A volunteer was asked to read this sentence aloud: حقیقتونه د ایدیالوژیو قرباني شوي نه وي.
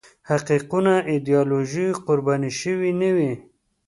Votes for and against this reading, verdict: 2, 0, accepted